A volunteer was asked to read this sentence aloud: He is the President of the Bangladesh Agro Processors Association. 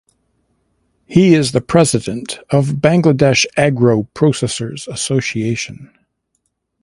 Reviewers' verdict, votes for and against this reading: rejected, 1, 2